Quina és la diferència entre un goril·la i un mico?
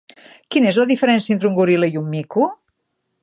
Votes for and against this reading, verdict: 3, 0, accepted